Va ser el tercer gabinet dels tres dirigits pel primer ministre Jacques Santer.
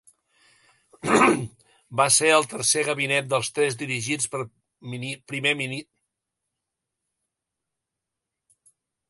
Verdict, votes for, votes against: rejected, 1, 3